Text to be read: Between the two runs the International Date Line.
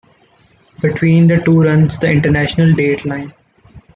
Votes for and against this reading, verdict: 2, 0, accepted